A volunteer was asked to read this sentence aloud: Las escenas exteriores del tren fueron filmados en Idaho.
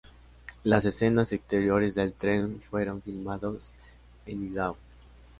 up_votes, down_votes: 2, 0